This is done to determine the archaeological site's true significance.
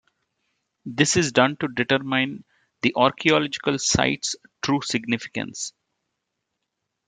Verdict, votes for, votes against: accepted, 2, 1